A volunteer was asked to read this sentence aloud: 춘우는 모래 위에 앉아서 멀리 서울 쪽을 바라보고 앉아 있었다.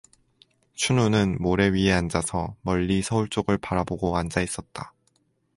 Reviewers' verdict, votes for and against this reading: accepted, 4, 0